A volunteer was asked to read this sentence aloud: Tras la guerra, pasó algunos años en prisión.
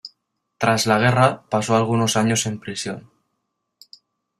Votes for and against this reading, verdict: 2, 0, accepted